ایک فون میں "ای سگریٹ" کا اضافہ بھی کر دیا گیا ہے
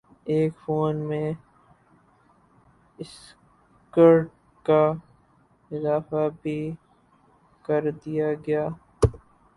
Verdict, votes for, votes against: rejected, 0, 4